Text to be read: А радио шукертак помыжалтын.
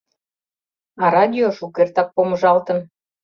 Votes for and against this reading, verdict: 2, 0, accepted